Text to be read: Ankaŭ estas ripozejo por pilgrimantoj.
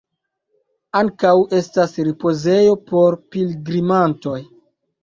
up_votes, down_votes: 2, 0